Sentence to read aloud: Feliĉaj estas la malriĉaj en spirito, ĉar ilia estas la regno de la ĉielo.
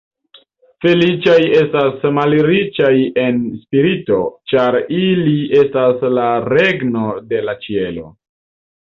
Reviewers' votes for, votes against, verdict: 1, 3, rejected